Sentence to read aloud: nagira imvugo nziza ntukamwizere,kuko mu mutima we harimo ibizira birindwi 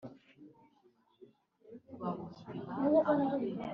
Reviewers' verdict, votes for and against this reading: rejected, 1, 2